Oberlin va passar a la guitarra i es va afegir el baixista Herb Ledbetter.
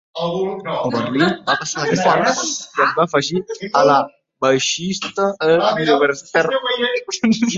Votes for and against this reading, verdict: 0, 3, rejected